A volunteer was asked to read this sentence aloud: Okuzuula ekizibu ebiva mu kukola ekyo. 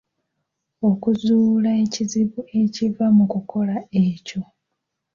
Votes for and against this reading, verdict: 1, 2, rejected